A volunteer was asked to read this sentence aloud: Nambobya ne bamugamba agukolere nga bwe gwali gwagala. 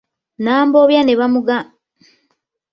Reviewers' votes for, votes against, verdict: 0, 2, rejected